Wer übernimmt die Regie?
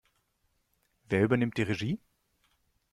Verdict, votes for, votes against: accepted, 2, 0